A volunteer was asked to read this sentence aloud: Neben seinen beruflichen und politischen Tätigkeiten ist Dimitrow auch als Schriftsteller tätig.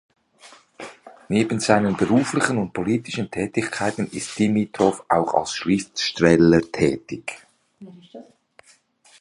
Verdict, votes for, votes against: rejected, 0, 2